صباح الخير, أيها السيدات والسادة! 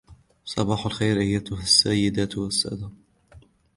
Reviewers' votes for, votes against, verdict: 2, 0, accepted